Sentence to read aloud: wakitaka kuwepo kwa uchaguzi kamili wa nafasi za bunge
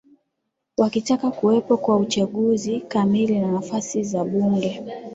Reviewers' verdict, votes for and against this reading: accepted, 4, 0